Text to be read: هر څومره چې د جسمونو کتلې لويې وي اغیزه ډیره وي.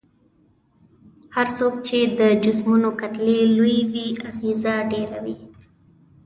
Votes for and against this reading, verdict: 1, 2, rejected